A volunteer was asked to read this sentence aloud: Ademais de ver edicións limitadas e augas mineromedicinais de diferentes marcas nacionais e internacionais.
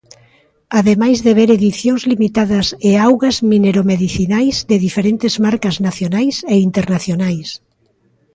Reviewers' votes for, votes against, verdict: 2, 0, accepted